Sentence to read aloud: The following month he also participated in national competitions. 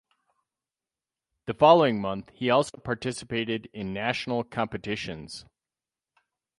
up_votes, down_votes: 4, 0